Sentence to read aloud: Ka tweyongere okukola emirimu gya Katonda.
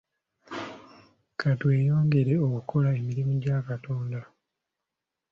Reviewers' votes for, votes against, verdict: 2, 0, accepted